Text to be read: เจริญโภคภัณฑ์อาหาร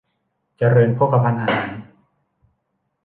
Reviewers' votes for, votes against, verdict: 1, 2, rejected